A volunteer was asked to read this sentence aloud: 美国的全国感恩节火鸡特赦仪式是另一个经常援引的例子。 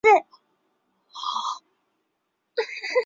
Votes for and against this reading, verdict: 1, 5, rejected